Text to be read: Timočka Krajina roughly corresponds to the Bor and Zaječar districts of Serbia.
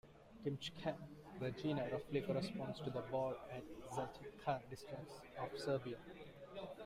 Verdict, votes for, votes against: rejected, 0, 2